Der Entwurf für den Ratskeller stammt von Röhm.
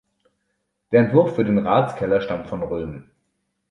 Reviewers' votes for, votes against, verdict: 2, 0, accepted